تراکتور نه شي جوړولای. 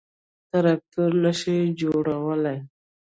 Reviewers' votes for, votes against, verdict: 1, 2, rejected